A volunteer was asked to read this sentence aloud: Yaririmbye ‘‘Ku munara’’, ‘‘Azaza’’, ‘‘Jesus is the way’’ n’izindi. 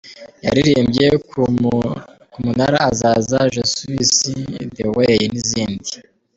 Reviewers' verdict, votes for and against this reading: rejected, 1, 3